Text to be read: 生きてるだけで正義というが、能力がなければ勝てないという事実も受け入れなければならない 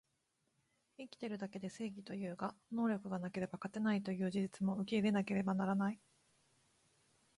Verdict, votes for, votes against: accepted, 3, 0